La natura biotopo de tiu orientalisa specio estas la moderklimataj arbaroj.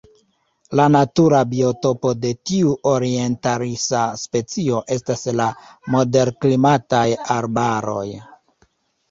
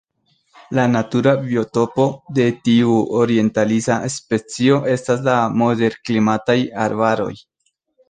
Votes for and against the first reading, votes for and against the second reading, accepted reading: 1, 2, 2, 0, second